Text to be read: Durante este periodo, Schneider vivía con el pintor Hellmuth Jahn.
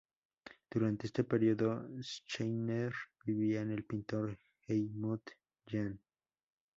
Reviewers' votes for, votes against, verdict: 0, 2, rejected